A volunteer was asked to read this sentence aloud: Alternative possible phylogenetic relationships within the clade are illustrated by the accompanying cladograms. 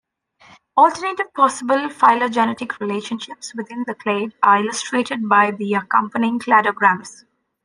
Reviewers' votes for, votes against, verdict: 2, 0, accepted